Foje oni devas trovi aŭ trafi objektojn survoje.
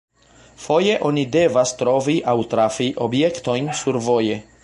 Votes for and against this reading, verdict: 2, 0, accepted